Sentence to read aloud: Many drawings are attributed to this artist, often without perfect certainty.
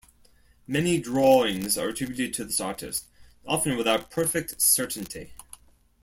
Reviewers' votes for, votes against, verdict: 2, 0, accepted